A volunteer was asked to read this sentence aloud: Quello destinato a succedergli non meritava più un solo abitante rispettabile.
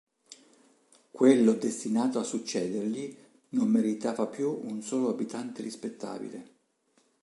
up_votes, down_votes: 2, 0